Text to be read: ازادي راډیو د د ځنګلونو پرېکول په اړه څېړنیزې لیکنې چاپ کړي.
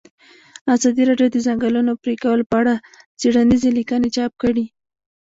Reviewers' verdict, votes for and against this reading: rejected, 1, 2